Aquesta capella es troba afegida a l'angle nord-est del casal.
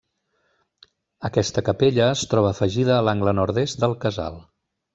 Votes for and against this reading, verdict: 3, 0, accepted